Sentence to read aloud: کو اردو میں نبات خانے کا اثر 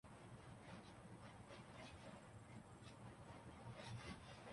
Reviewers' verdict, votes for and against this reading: rejected, 0, 2